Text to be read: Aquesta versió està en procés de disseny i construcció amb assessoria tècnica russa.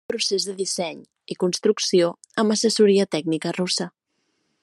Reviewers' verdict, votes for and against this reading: rejected, 0, 2